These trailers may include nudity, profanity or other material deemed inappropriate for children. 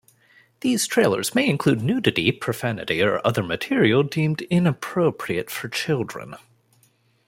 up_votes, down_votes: 2, 0